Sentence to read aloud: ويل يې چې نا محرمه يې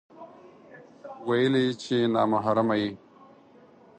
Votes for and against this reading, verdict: 2, 4, rejected